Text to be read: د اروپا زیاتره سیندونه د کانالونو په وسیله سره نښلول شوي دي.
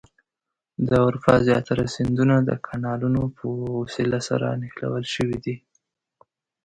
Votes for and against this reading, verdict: 2, 0, accepted